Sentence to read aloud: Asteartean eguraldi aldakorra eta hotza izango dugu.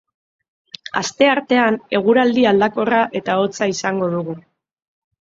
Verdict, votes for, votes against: accepted, 3, 0